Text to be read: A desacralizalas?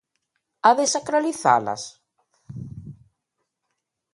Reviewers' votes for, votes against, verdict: 2, 0, accepted